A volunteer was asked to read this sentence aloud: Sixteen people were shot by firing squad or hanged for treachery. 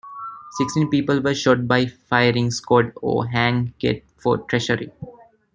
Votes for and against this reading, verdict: 0, 2, rejected